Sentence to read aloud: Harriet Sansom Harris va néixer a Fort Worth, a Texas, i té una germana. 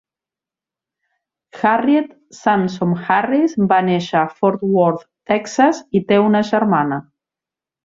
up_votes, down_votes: 0, 2